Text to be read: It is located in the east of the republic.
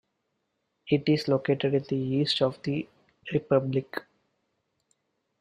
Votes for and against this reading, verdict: 2, 0, accepted